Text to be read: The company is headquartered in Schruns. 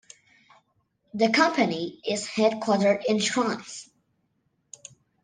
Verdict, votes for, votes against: accepted, 2, 0